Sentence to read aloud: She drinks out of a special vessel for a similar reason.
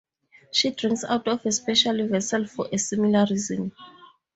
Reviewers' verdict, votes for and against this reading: accepted, 4, 0